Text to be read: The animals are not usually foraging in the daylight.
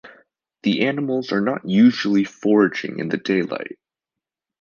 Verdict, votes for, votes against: accepted, 2, 0